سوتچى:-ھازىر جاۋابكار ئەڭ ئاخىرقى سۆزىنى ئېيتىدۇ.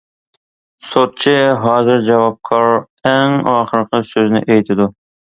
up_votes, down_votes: 2, 0